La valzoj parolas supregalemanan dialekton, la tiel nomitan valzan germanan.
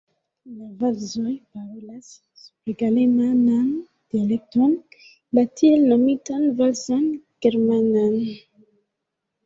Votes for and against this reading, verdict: 0, 2, rejected